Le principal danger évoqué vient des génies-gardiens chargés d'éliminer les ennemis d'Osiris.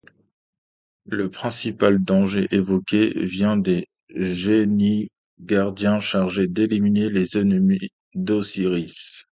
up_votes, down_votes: 2, 0